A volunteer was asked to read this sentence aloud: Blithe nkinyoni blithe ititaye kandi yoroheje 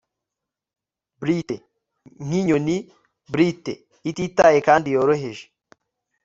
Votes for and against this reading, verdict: 2, 0, accepted